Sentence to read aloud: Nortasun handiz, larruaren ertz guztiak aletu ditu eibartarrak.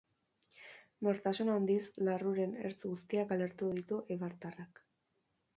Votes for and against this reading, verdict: 4, 0, accepted